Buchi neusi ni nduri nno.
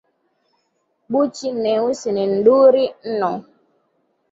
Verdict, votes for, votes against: accepted, 3, 2